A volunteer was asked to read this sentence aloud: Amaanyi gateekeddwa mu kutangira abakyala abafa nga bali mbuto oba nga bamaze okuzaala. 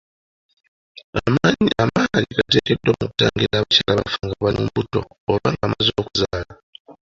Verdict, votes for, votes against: accepted, 2, 1